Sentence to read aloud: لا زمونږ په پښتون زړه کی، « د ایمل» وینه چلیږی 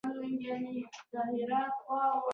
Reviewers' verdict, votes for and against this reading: rejected, 1, 2